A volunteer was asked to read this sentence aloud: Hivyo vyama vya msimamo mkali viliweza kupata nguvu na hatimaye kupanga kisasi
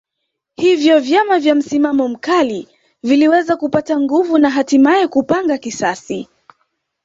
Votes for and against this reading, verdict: 3, 1, accepted